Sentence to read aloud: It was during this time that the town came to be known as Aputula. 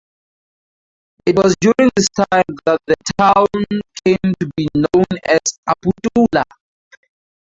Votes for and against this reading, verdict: 4, 0, accepted